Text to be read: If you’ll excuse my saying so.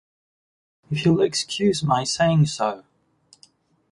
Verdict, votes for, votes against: accepted, 2, 0